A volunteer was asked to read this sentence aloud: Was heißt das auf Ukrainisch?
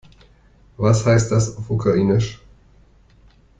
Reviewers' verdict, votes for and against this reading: rejected, 2, 3